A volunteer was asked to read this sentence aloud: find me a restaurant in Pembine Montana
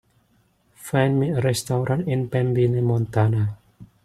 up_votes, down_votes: 2, 1